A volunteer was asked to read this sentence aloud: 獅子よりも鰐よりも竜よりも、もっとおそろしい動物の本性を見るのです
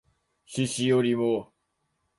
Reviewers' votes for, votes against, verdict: 0, 2, rejected